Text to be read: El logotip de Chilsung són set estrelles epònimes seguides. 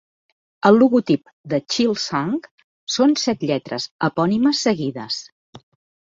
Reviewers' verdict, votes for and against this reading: rejected, 0, 2